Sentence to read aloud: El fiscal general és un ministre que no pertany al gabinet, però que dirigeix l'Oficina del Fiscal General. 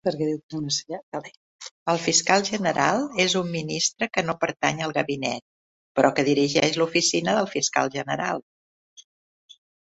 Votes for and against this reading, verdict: 0, 2, rejected